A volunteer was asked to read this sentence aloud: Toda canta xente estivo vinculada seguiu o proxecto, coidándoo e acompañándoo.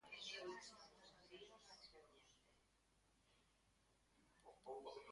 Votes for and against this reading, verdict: 0, 2, rejected